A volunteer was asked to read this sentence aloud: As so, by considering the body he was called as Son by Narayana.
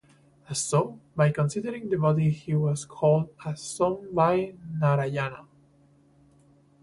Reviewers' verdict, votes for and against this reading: rejected, 2, 2